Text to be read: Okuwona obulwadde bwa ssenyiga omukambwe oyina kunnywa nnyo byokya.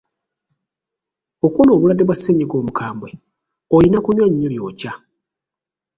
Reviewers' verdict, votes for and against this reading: rejected, 0, 2